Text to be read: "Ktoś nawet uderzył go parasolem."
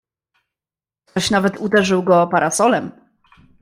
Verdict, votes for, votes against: rejected, 0, 2